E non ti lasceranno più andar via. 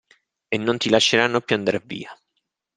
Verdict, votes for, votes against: accepted, 2, 0